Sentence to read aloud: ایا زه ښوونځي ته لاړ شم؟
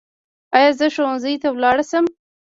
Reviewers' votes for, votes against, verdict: 1, 2, rejected